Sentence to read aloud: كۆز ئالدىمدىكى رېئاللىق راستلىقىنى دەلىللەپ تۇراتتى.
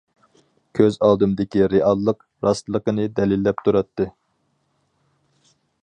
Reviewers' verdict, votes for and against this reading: accepted, 4, 0